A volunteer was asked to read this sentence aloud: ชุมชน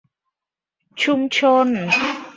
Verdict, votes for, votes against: accepted, 2, 1